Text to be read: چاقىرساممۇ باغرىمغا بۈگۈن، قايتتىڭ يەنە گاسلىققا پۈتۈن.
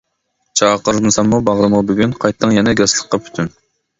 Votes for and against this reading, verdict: 0, 2, rejected